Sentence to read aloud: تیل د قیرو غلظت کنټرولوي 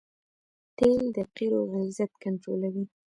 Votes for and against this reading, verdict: 1, 2, rejected